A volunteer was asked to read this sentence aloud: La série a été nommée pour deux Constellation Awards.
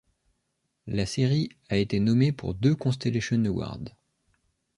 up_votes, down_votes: 1, 2